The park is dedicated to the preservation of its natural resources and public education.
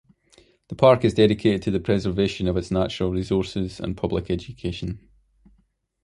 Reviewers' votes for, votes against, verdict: 2, 0, accepted